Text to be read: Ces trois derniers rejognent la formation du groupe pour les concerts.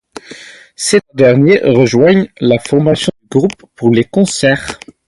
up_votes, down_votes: 0, 2